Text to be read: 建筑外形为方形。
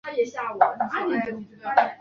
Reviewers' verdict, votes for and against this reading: rejected, 0, 4